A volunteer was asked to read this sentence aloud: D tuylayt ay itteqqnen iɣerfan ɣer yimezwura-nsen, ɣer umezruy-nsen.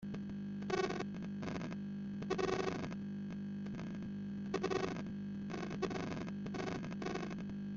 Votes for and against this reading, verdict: 0, 2, rejected